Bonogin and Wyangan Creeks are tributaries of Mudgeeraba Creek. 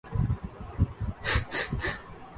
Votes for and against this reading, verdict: 0, 2, rejected